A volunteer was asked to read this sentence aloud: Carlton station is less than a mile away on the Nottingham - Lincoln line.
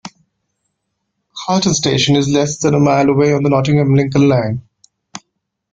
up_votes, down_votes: 2, 0